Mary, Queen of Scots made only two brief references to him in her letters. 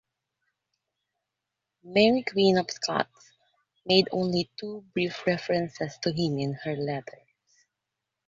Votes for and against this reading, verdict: 0, 2, rejected